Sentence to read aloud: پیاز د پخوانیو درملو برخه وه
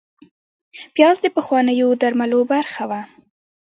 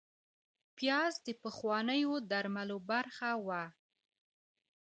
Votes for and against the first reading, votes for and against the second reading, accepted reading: 3, 0, 0, 2, first